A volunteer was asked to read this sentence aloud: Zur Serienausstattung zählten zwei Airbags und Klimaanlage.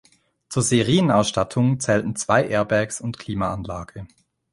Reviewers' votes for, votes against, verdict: 1, 2, rejected